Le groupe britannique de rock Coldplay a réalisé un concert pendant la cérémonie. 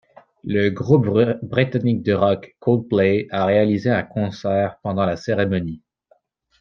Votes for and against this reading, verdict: 0, 2, rejected